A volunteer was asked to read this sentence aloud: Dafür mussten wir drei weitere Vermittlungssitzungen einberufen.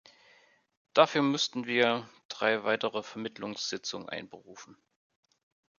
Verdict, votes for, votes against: accepted, 2, 0